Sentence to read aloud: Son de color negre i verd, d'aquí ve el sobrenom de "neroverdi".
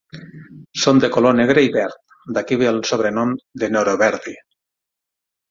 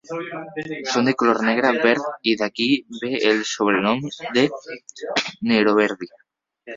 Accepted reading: first